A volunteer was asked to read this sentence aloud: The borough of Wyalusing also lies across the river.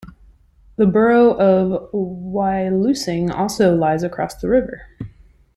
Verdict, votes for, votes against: accepted, 2, 0